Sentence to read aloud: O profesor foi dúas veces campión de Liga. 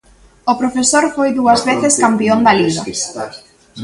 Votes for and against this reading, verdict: 0, 2, rejected